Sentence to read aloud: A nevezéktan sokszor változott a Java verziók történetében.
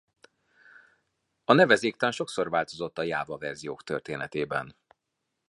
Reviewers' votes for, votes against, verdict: 2, 0, accepted